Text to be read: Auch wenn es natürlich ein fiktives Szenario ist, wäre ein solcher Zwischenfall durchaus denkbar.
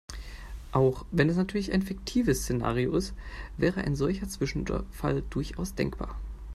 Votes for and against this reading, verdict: 0, 2, rejected